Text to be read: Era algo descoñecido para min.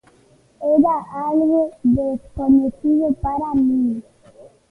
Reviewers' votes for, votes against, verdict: 1, 2, rejected